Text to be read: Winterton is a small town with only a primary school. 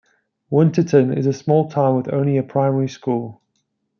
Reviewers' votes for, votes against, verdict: 2, 0, accepted